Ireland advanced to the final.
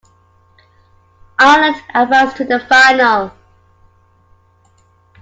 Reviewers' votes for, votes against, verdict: 1, 2, rejected